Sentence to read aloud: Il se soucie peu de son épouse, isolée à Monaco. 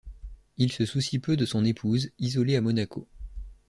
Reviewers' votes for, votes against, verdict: 2, 0, accepted